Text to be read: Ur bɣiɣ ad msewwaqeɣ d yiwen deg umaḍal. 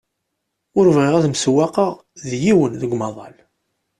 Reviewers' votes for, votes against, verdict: 2, 0, accepted